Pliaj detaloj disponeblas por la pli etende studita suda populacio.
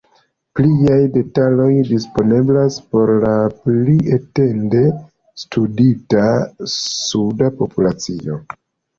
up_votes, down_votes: 2, 0